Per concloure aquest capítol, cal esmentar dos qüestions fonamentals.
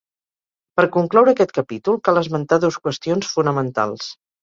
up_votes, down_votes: 4, 0